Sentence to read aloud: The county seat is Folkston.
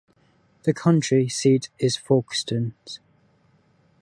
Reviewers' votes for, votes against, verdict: 2, 1, accepted